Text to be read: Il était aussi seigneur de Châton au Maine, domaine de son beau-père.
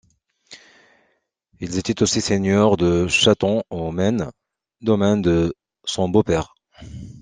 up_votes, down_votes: 1, 2